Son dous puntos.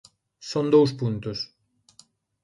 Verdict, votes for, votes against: accepted, 2, 0